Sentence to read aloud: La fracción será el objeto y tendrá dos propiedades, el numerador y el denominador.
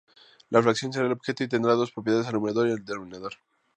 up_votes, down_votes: 2, 0